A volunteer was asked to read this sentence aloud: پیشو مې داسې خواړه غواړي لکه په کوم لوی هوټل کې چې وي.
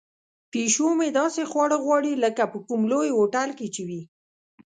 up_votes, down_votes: 2, 0